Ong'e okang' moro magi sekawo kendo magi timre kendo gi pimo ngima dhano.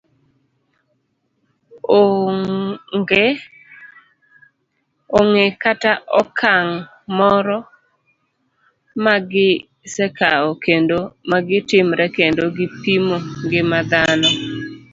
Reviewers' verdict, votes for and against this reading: rejected, 0, 2